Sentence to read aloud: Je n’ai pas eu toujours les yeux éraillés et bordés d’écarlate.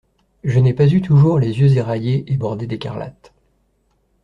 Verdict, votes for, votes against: accepted, 2, 0